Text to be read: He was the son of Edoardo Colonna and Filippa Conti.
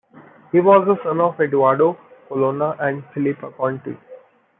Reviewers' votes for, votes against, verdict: 2, 1, accepted